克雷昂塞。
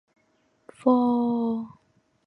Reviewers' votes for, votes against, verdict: 2, 6, rejected